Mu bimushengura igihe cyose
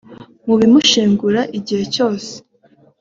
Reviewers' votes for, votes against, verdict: 3, 0, accepted